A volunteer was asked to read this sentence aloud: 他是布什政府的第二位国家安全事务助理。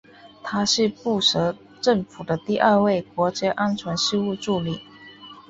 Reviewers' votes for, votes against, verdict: 3, 0, accepted